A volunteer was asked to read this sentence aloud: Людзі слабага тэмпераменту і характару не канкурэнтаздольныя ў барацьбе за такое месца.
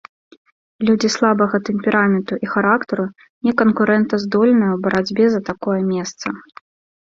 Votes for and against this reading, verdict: 2, 0, accepted